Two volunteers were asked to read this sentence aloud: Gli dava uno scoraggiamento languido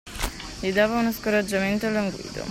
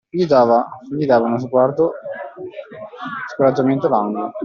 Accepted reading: first